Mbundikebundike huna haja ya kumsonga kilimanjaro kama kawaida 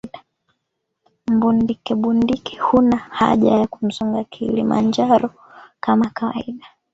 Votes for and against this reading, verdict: 2, 1, accepted